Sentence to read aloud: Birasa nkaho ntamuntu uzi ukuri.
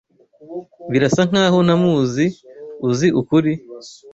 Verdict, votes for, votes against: rejected, 1, 2